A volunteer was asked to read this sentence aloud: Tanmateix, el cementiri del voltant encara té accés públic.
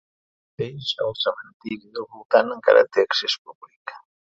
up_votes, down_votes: 0, 2